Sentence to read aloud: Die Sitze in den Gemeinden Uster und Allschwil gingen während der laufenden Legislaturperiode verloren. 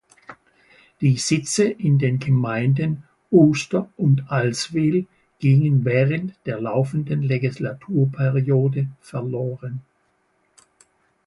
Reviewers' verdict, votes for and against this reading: rejected, 1, 3